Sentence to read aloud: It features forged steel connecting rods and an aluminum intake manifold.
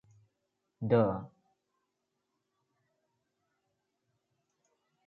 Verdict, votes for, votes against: rejected, 0, 2